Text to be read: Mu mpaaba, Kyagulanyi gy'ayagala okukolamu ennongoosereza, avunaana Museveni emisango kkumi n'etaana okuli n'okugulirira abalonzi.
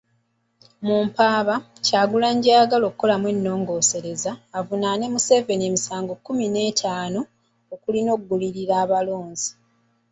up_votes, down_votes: 1, 2